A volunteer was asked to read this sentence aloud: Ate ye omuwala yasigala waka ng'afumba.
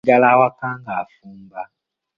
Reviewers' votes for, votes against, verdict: 1, 2, rejected